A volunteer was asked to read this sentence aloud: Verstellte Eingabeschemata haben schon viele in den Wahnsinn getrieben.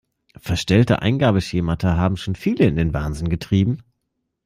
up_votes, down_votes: 2, 0